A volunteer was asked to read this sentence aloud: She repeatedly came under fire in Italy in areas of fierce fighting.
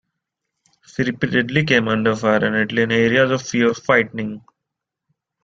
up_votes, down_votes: 1, 3